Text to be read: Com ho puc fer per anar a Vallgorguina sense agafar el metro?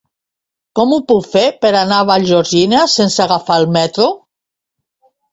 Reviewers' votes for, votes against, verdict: 1, 2, rejected